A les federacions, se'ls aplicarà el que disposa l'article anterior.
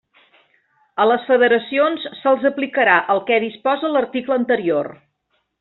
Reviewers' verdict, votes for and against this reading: rejected, 1, 2